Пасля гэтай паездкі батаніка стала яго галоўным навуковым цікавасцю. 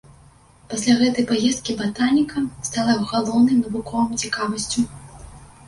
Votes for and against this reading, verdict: 1, 2, rejected